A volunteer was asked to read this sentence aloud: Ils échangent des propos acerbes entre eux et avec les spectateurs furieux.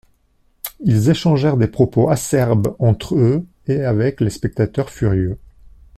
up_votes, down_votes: 1, 3